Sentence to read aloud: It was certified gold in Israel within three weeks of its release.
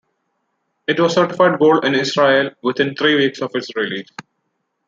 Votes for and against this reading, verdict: 2, 0, accepted